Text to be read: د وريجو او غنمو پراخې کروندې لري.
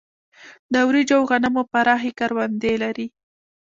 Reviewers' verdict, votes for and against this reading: rejected, 1, 3